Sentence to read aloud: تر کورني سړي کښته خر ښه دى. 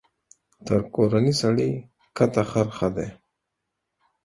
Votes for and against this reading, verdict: 4, 0, accepted